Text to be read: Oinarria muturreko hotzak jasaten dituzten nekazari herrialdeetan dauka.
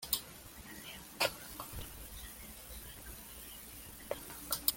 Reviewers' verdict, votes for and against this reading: rejected, 0, 2